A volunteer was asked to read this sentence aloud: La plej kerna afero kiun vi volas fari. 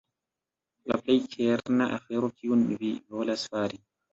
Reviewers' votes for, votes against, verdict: 1, 2, rejected